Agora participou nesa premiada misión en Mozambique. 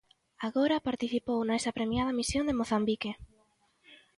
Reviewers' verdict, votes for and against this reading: accepted, 2, 0